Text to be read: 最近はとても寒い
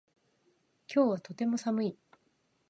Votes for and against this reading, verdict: 1, 2, rejected